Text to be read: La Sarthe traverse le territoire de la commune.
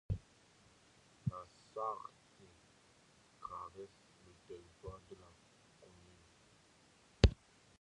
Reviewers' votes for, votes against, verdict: 0, 2, rejected